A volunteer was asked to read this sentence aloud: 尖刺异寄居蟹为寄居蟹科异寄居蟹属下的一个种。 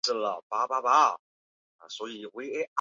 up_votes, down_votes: 1, 2